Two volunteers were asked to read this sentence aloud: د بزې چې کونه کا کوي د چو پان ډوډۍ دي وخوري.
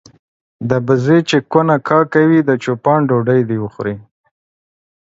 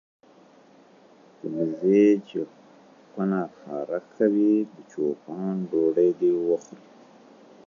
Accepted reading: second